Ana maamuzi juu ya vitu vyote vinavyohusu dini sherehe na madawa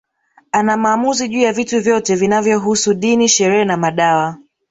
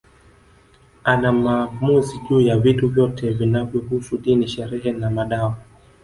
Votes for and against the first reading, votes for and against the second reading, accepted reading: 6, 0, 1, 2, first